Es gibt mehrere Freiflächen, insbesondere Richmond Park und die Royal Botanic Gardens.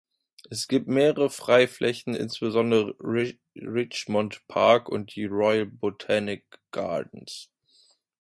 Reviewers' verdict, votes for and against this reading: rejected, 0, 2